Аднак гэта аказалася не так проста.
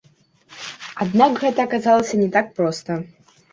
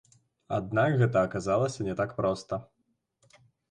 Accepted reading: second